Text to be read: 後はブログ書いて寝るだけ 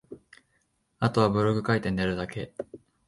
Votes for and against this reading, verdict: 2, 0, accepted